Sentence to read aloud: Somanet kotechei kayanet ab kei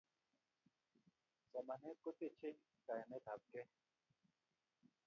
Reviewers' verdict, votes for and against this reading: rejected, 0, 2